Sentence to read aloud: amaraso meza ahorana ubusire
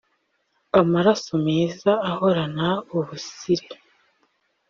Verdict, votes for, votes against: accepted, 2, 0